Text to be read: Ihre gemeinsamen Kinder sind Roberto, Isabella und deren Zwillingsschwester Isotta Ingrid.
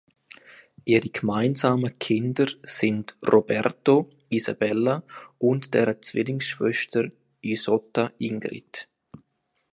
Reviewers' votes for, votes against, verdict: 2, 1, accepted